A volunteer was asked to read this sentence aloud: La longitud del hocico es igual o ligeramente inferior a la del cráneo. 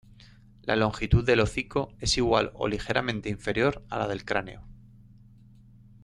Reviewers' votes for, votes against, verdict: 2, 0, accepted